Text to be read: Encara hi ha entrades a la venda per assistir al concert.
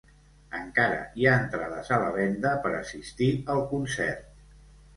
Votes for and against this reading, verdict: 2, 0, accepted